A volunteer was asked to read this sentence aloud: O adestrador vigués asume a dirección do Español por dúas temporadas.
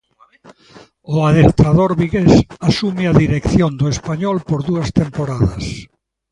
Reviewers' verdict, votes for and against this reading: accepted, 2, 0